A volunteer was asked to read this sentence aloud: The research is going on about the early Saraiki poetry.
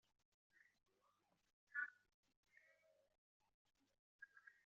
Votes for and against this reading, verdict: 0, 2, rejected